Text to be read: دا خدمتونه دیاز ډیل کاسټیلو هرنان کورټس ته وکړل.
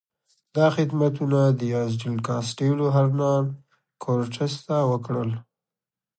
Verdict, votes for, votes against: accepted, 2, 0